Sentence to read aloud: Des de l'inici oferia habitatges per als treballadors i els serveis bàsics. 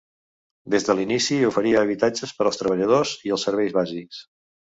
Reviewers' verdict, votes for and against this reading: accepted, 2, 0